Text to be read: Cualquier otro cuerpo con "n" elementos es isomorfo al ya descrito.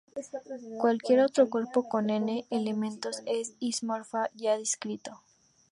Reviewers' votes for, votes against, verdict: 0, 2, rejected